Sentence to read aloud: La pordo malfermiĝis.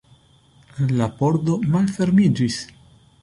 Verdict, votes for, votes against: accepted, 2, 1